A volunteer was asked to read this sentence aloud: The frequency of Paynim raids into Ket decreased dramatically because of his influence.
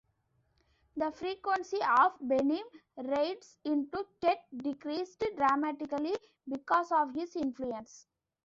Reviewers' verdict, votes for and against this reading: accepted, 2, 0